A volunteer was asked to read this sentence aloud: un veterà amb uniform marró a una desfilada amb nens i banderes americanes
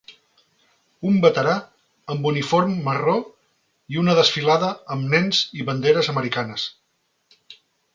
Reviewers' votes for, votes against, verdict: 0, 2, rejected